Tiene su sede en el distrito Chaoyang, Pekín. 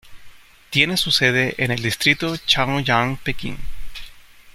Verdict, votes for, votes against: accepted, 2, 0